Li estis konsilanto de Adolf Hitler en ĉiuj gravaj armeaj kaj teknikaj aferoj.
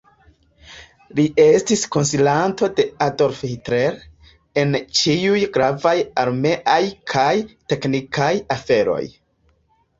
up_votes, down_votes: 2, 1